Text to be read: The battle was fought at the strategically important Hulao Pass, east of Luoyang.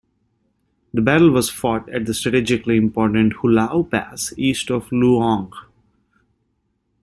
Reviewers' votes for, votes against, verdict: 0, 2, rejected